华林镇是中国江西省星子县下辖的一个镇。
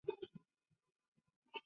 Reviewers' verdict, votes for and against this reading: accepted, 2, 0